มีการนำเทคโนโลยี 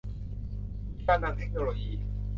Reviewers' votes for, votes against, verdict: 0, 2, rejected